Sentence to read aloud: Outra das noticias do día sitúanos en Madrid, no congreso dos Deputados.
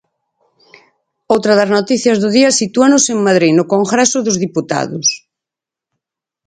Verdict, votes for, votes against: rejected, 2, 4